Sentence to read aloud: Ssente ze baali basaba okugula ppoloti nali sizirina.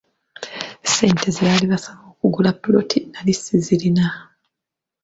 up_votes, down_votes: 0, 2